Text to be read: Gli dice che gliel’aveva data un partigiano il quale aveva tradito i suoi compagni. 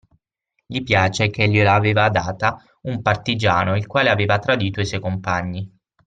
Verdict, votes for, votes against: rejected, 0, 6